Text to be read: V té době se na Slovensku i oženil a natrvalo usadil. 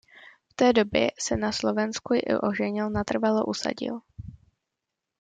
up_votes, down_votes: 0, 2